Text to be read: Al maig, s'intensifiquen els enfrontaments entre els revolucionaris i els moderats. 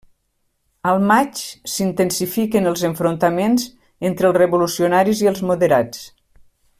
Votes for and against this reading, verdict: 3, 0, accepted